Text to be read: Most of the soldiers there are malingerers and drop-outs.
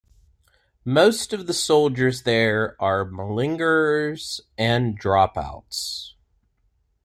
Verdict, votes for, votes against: accepted, 2, 0